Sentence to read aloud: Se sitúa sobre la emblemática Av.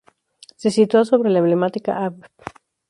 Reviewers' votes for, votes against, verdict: 0, 2, rejected